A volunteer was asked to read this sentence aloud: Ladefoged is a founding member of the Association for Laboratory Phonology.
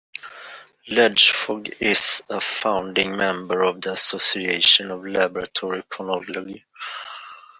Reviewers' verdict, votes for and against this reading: rejected, 0, 2